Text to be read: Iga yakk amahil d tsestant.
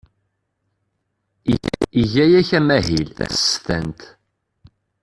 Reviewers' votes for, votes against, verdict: 0, 2, rejected